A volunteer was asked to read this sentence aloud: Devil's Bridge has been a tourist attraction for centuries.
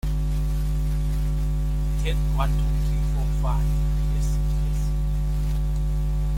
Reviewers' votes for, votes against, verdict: 0, 2, rejected